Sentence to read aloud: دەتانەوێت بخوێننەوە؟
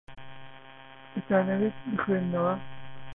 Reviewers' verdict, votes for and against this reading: rejected, 0, 2